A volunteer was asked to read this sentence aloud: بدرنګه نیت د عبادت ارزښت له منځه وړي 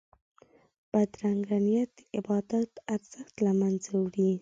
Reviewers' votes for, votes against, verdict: 8, 0, accepted